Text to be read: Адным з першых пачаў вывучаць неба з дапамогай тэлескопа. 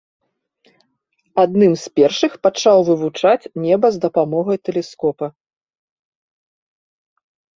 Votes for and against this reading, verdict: 2, 0, accepted